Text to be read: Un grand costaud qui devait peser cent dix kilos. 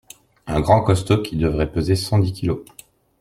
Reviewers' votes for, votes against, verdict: 1, 2, rejected